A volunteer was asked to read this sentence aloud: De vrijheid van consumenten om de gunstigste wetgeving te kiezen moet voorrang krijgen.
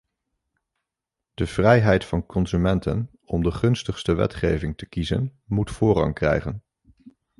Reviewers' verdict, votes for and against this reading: accepted, 3, 0